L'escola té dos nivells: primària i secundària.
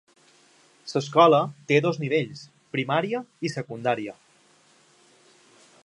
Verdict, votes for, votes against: accepted, 2, 1